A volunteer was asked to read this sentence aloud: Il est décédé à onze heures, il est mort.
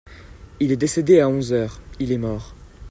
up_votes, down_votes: 2, 0